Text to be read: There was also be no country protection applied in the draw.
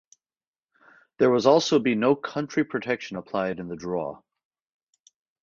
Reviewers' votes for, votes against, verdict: 4, 0, accepted